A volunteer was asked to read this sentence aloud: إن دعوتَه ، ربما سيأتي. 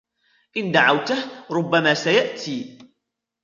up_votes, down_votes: 1, 2